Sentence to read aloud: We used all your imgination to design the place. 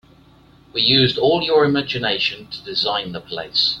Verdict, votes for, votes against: accepted, 2, 0